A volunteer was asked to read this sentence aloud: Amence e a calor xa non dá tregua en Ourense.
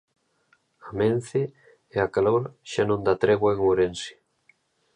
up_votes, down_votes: 2, 0